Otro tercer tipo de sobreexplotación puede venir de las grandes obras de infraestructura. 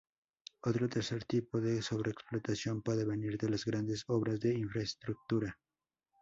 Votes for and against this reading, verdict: 0, 2, rejected